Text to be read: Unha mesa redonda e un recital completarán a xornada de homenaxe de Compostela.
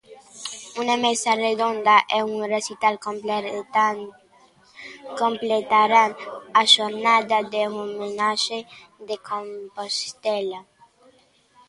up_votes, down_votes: 0, 2